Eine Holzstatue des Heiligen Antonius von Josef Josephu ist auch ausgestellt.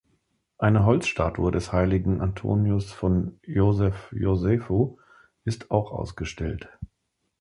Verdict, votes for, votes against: accepted, 2, 0